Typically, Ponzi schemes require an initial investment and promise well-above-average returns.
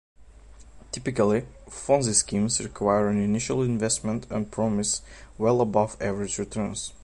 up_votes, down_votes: 2, 1